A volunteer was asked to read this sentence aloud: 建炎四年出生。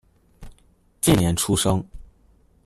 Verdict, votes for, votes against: rejected, 0, 2